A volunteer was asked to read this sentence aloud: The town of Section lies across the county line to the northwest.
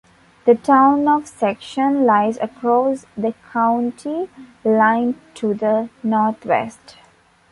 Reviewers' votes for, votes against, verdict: 2, 1, accepted